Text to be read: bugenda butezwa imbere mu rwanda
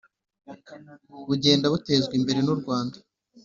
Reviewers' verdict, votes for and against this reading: accepted, 3, 0